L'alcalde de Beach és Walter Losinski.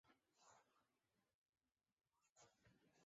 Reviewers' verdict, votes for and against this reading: rejected, 2, 3